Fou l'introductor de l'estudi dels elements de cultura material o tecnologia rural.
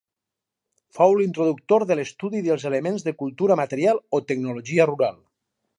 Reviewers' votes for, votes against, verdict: 2, 2, rejected